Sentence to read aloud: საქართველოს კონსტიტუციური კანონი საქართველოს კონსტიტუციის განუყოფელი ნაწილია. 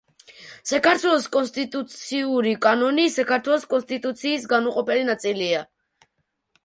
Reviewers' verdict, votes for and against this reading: rejected, 0, 2